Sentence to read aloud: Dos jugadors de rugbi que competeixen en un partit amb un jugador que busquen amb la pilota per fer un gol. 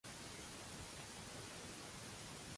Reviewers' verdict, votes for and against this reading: rejected, 0, 2